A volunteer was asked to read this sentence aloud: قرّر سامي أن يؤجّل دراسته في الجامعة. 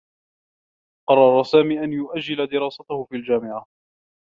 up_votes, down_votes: 2, 0